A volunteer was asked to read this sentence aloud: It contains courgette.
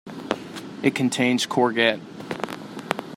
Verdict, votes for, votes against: rejected, 1, 2